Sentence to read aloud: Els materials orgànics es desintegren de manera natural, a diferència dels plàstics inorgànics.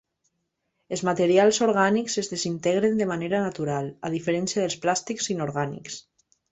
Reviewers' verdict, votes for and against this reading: accepted, 3, 0